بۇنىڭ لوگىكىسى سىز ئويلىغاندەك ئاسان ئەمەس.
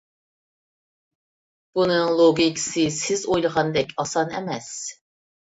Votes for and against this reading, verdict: 2, 0, accepted